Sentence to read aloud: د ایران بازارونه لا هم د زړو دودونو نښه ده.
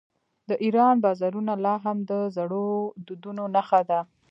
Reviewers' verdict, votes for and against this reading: accepted, 2, 1